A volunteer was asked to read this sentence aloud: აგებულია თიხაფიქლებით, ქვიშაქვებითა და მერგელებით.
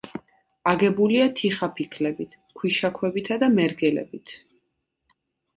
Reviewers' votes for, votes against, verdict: 2, 0, accepted